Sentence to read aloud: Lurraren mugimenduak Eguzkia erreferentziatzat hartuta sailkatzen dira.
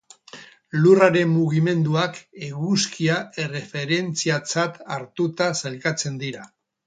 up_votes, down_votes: 2, 0